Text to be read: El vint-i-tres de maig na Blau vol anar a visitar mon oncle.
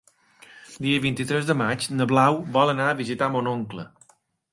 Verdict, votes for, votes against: rejected, 0, 2